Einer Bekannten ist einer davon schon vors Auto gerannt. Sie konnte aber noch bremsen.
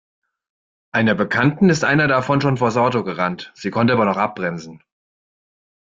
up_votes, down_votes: 1, 2